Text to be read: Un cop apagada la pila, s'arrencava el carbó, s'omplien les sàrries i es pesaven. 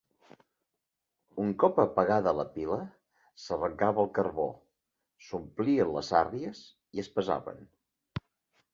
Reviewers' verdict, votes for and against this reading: accepted, 2, 0